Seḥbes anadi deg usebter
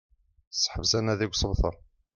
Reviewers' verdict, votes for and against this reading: accepted, 2, 0